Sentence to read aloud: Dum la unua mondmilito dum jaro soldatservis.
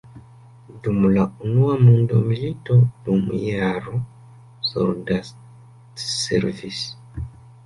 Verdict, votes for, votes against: rejected, 0, 2